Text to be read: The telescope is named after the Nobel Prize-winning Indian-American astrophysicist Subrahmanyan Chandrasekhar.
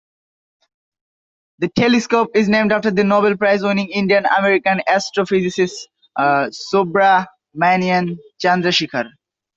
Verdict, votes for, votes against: accepted, 2, 0